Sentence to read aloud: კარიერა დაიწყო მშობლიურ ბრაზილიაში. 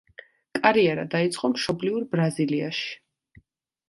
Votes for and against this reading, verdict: 2, 0, accepted